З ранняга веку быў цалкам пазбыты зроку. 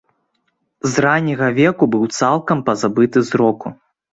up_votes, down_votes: 0, 2